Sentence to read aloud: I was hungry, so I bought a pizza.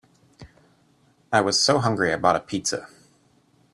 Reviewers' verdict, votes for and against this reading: rejected, 0, 2